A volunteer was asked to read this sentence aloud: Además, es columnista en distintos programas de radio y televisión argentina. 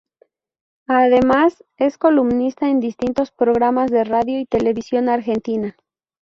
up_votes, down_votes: 2, 0